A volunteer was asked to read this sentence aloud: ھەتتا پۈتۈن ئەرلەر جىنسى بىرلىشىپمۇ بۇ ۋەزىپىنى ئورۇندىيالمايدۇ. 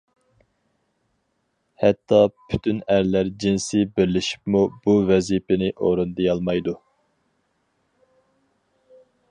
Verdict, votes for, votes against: accepted, 4, 0